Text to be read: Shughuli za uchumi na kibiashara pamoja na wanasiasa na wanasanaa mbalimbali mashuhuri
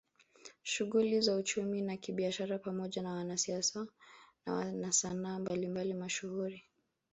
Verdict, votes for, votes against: rejected, 1, 2